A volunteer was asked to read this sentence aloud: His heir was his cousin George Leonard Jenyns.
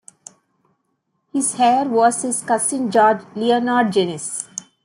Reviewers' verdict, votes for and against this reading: rejected, 0, 2